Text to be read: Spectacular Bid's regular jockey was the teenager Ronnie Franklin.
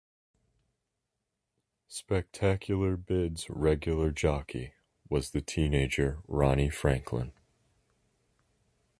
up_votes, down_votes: 2, 0